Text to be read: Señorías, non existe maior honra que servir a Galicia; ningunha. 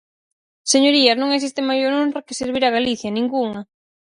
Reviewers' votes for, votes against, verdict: 2, 2, rejected